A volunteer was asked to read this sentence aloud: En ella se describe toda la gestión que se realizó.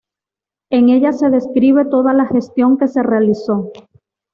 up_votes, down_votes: 2, 0